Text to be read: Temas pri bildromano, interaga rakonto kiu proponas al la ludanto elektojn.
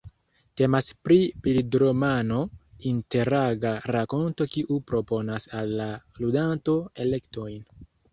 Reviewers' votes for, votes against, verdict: 1, 2, rejected